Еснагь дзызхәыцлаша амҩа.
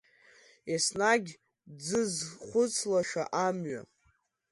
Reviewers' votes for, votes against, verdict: 2, 0, accepted